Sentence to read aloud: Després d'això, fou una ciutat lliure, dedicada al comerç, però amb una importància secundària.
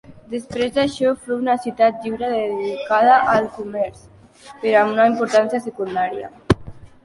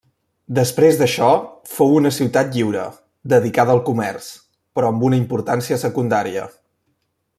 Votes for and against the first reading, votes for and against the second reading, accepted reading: 2, 1, 1, 2, first